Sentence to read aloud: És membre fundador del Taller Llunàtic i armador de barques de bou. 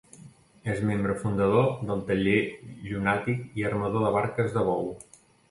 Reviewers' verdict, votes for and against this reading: accepted, 2, 0